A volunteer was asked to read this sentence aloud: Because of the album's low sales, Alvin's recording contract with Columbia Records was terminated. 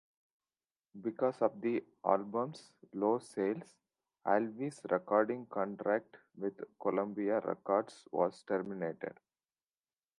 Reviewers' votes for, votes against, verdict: 2, 0, accepted